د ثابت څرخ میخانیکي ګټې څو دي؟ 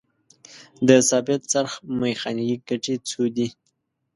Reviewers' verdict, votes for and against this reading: accepted, 2, 0